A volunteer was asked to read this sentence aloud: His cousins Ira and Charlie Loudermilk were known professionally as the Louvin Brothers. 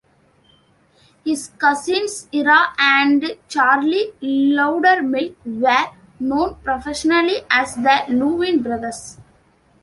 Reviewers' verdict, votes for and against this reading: rejected, 0, 2